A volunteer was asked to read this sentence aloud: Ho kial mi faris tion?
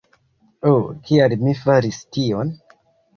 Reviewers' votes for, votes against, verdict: 2, 0, accepted